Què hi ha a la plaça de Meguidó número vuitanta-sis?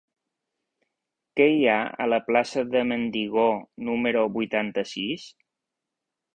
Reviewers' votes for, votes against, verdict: 1, 3, rejected